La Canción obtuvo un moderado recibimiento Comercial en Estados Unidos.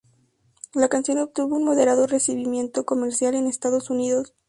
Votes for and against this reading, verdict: 2, 0, accepted